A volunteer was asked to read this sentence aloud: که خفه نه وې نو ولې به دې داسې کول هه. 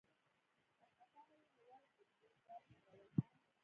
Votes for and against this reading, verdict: 0, 2, rejected